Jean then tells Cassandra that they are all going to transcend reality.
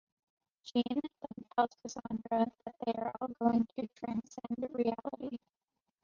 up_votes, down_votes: 1, 2